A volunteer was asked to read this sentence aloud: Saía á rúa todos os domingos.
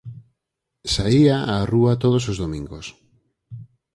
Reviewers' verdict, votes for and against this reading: accepted, 4, 0